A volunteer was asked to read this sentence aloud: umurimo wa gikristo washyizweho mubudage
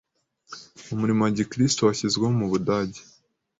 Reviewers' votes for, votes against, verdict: 2, 0, accepted